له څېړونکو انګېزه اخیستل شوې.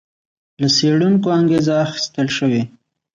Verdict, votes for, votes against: rejected, 1, 2